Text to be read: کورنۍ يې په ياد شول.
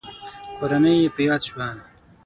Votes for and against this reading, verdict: 0, 6, rejected